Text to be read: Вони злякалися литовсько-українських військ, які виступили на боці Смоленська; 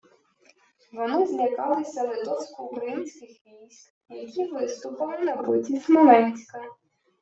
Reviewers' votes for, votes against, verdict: 2, 0, accepted